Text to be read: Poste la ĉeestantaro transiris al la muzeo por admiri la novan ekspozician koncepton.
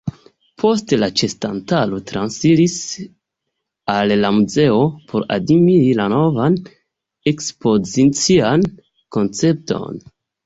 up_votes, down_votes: 2, 0